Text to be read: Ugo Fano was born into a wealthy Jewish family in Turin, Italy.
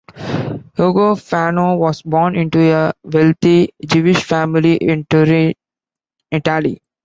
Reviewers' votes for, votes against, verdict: 0, 2, rejected